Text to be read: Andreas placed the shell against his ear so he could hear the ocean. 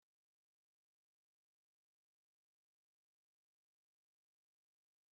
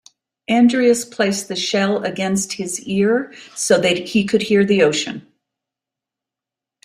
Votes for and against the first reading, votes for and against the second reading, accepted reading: 0, 3, 2, 0, second